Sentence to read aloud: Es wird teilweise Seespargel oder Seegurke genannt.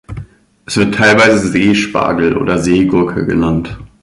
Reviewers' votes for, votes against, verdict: 2, 0, accepted